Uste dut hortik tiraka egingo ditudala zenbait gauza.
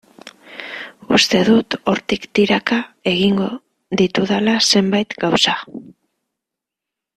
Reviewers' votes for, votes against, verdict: 2, 0, accepted